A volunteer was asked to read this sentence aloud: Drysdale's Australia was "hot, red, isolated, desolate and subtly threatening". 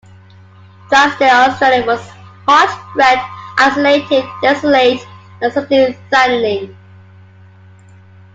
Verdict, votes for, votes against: accepted, 2, 1